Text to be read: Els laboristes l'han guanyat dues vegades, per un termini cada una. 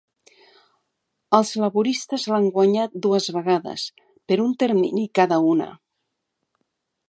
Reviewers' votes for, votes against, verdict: 2, 0, accepted